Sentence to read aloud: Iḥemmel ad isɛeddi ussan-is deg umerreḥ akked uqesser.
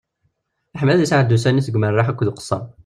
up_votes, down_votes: 1, 2